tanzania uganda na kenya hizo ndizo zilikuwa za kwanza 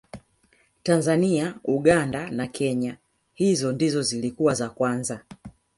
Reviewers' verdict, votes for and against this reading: accepted, 3, 1